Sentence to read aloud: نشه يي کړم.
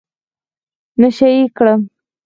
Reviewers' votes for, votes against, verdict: 2, 4, rejected